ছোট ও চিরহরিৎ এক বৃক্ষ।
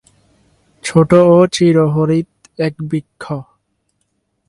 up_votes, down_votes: 4, 0